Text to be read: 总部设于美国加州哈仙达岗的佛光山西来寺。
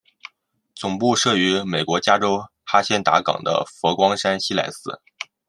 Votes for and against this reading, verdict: 2, 0, accepted